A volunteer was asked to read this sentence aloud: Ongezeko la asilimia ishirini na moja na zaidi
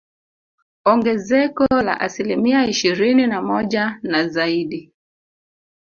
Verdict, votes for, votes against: accepted, 2, 1